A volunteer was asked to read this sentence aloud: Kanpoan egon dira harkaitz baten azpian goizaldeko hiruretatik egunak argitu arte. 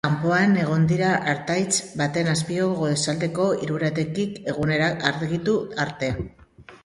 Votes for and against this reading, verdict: 0, 2, rejected